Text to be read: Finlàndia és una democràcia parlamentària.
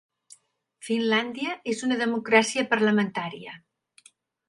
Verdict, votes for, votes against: accepted, 2, 0